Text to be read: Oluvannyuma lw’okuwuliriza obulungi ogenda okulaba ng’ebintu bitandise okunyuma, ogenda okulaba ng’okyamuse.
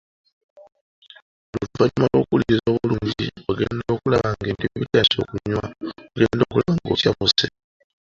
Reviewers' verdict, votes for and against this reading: rejected, 0, 2